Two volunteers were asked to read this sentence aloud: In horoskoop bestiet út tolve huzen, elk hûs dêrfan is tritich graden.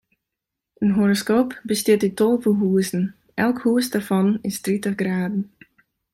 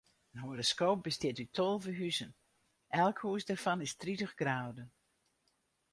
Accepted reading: first